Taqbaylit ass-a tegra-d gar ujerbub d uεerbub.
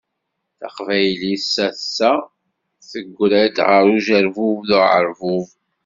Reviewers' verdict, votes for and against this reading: rejected, 0, 2